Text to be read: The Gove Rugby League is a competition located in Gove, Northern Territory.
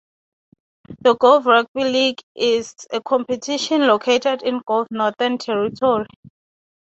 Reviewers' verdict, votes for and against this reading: accepted, 3, 0